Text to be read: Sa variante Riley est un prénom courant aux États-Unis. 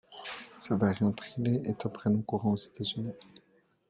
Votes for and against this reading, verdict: 0, 2, rejected